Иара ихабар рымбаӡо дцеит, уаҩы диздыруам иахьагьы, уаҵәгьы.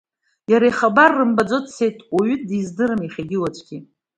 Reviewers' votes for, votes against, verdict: 2, 0, accepted